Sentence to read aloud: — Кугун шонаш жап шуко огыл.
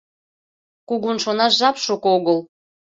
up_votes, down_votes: 2, 0